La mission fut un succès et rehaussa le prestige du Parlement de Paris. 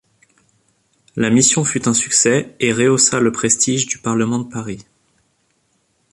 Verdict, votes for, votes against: accepted, 2, 1